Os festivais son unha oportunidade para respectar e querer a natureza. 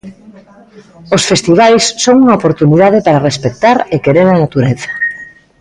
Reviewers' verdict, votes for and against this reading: accepted, 3, 0